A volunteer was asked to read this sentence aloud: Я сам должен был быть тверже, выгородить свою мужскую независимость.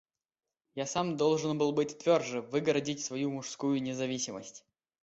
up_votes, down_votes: 2, 0